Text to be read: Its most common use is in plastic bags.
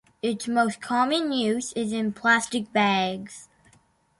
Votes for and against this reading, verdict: 2, 0, accepted